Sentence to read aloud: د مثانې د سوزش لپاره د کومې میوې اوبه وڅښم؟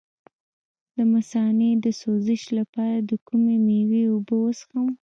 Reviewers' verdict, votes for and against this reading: rejected, 0, 2